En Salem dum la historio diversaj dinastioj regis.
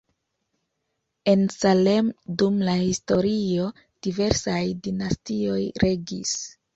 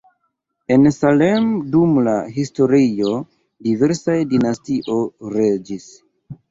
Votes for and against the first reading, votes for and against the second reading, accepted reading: 2, 1, 1, 2, first